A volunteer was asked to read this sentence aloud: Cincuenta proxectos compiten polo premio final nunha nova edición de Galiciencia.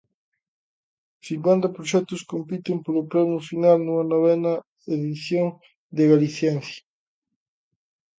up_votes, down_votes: 0, 2